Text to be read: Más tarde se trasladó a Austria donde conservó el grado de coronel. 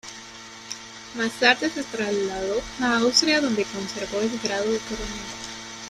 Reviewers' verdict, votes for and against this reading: accepted, 2, 1